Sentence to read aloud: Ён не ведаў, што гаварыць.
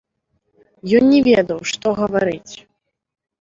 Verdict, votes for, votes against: accepted, 2, 0